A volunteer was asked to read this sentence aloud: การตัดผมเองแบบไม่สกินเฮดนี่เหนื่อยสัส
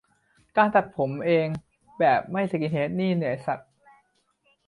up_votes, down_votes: 2, 1